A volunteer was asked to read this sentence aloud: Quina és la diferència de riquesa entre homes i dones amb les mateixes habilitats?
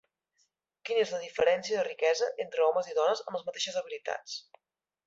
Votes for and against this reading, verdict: 3, 0, accepted